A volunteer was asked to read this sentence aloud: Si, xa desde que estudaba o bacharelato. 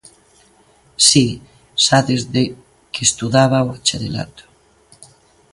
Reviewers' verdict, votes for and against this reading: accepted, 2, 0